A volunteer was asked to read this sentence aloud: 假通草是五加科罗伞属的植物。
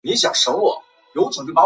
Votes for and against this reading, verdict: 0, 3, rejected